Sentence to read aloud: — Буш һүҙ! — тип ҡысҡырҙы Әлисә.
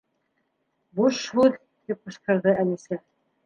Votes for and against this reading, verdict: 2, 0, accepted